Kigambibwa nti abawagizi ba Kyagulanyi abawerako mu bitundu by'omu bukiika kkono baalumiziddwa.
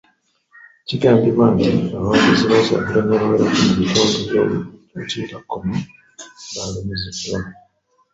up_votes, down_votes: 0, 2